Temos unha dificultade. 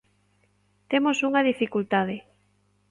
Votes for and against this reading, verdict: 2, 0, accepted